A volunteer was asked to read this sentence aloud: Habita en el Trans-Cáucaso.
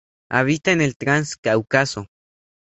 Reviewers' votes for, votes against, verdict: 2, 0, accepted